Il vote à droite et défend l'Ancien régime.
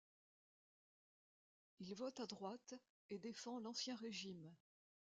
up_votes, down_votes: 1, 2